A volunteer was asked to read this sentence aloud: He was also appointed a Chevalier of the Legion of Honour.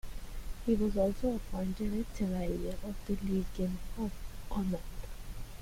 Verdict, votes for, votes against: rejected, 1, 2